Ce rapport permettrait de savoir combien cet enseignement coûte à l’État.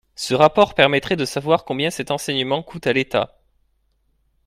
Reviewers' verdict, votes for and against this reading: accepted, 2, 0